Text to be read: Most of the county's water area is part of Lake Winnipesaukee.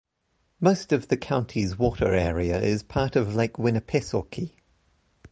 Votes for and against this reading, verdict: 2, 0, accepted